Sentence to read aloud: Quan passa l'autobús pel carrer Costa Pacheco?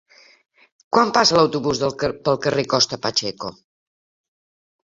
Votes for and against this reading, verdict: 0, 2, rejected